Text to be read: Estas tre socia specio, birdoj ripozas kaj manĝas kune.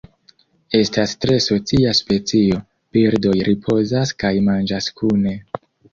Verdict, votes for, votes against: rejected, 0, 2